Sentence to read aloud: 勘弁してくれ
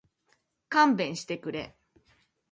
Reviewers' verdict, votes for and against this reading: accepted, 2, 0